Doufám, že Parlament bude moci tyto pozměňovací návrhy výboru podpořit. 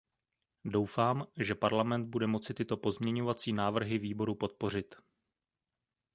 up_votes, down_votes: 2, 0